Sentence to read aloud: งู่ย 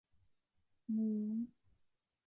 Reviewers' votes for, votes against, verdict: 0, 2, rejected